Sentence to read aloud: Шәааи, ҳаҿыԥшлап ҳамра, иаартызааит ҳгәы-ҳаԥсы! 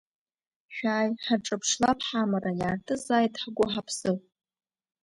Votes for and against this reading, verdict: 3, 1, accepted